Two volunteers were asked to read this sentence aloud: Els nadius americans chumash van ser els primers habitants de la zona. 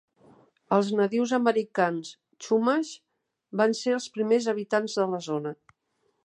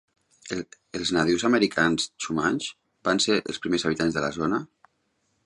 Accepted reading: first